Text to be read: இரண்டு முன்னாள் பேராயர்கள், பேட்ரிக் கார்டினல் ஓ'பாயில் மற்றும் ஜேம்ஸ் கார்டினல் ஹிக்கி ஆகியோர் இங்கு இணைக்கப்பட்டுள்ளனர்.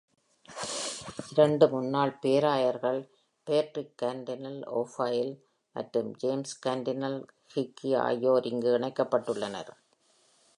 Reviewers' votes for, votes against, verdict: 1, 2, rejected